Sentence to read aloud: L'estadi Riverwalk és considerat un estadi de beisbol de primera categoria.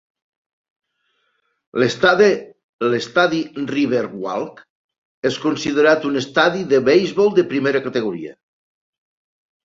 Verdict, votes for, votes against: accepted, 2, 1